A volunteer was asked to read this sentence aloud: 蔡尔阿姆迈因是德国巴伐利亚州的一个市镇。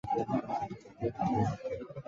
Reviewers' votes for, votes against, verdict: 0, 4, rejected